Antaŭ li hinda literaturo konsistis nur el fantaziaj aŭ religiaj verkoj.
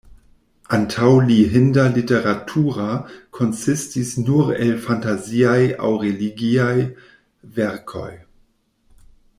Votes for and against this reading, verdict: 0, 2, rejected